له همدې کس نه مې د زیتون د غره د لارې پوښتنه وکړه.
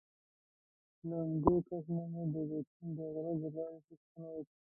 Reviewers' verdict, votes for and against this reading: rejected, 0, 2